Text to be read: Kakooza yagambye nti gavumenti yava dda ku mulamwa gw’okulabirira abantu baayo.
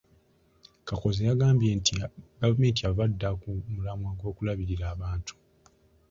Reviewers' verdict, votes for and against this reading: rejected, 0, 2